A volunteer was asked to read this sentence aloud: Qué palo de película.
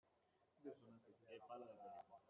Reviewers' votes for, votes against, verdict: 0, 2, rejected